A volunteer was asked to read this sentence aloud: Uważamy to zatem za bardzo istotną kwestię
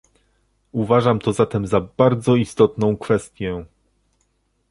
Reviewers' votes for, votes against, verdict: 0, 2, rejected